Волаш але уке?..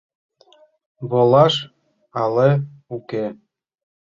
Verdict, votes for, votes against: accepted, 2, 0